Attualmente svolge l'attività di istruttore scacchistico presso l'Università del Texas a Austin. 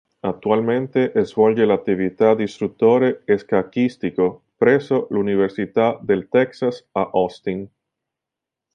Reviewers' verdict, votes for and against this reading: rejected, 1, 2